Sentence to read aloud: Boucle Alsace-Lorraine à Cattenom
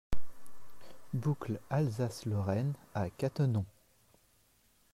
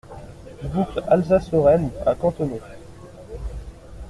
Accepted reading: first